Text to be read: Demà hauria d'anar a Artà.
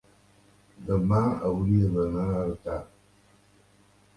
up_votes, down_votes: 2, 0